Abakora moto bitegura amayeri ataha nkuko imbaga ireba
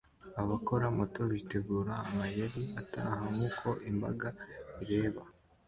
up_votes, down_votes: 2, 0